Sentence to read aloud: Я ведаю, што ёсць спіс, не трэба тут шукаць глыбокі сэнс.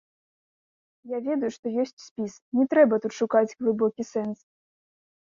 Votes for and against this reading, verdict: 2, 0, accepted